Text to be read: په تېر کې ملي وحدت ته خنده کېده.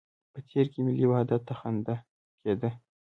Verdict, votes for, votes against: accepted, 2, 0